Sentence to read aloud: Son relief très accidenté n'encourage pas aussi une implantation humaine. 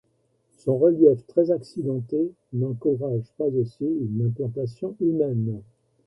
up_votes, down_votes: 0, 2